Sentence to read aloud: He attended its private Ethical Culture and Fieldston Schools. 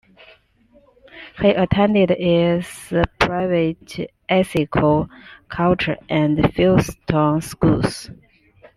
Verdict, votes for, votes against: accepted, 2, 1